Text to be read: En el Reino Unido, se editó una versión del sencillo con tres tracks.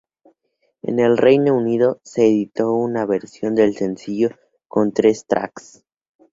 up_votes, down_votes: 4, 0